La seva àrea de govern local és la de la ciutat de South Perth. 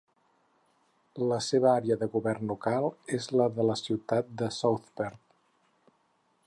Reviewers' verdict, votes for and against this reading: accepted, 4, 0